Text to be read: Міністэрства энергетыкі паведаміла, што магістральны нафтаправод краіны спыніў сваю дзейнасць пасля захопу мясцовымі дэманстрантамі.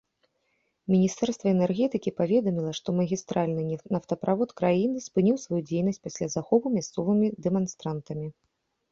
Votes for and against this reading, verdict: 0, 3, rejected